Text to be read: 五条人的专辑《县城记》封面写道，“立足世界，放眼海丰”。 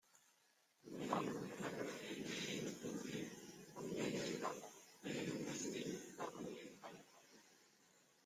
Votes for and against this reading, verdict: 0, 2, rejected